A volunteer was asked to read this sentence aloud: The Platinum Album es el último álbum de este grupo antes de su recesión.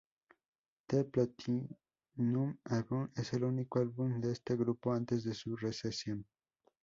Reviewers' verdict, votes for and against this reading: rejected, 2, 4